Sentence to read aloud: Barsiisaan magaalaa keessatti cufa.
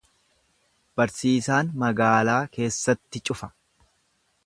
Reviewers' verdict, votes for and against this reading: accepted, 2, 0